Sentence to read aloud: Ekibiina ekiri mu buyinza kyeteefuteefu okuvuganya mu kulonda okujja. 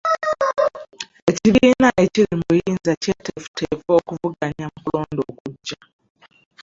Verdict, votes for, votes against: rejected, 0, 2